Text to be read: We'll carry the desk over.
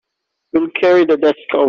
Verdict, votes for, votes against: rejected, 0, 3